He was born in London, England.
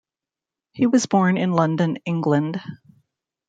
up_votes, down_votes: 2, 0